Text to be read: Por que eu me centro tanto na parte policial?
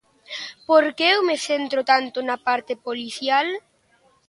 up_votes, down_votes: 2, 0